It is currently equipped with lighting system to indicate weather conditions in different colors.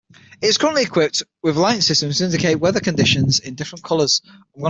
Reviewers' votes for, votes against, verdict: 3, 6, rejected